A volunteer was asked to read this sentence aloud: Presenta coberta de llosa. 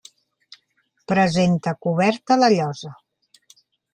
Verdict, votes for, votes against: rejected, 0, 2